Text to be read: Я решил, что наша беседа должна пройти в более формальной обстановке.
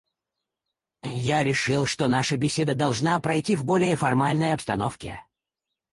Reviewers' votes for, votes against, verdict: 2, 4, rejected